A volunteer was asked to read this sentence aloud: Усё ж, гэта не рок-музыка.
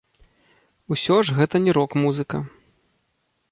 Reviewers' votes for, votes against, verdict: 1, 2, rejected